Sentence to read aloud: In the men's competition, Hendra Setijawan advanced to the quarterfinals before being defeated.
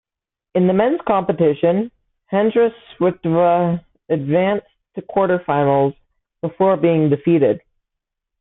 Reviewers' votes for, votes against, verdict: 0, 2, rejected